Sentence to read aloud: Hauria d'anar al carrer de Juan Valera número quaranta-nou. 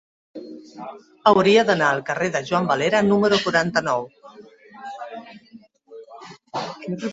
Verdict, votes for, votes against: rejected, 1, 2